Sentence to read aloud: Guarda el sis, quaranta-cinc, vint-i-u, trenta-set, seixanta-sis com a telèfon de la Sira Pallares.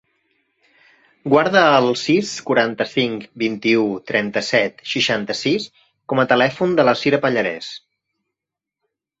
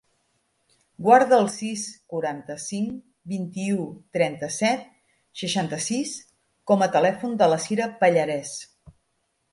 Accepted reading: first